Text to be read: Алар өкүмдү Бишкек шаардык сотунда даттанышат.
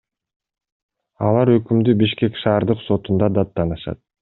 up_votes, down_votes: 2, 0